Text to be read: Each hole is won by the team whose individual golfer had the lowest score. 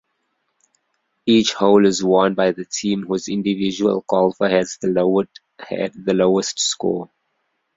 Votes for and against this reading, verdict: 0, 2, rejected